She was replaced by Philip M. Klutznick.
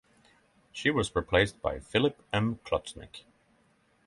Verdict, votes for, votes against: accepted, 6, 3